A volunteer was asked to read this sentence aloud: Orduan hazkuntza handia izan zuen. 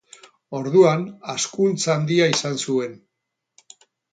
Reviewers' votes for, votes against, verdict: 4, 2, accepted